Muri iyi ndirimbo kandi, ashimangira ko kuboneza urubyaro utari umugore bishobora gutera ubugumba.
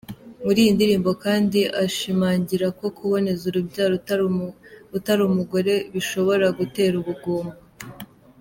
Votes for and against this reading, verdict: 2, 1, accepted